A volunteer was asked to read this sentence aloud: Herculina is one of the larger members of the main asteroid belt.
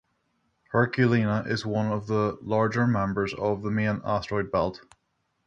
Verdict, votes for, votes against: rejected, 3, 3